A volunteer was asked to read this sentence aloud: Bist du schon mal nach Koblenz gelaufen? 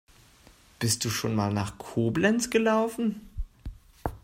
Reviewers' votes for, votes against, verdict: 2, 0, accepted